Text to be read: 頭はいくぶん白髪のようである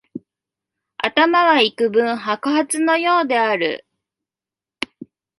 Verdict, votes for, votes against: accepted, 2, 0